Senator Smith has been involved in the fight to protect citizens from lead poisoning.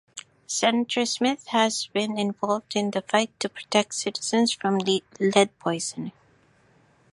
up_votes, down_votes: 1, 2